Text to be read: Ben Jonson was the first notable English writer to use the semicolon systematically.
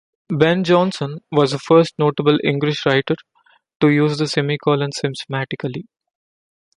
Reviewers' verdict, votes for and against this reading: rejected, 0, 2